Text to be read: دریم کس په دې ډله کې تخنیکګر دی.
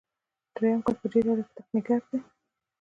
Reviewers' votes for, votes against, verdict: 1, 2, rejected